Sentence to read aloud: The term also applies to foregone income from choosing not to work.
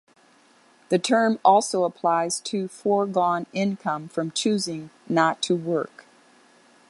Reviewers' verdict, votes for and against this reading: accepted, 2, 0